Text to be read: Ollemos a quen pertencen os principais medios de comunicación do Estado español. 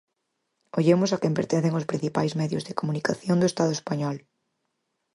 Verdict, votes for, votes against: accepted, 4, 0